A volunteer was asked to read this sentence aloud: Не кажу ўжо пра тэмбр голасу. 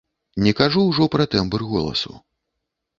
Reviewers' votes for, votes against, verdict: 2, 0, accepted